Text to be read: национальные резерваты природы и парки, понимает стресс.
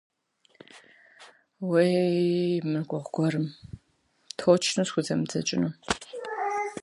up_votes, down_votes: 0, 2